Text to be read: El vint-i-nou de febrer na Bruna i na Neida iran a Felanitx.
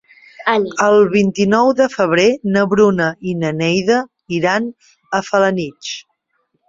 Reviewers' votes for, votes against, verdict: 0, 2, rejected